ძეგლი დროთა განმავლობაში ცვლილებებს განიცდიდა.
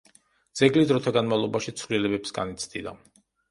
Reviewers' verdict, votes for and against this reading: accepted, 2, 0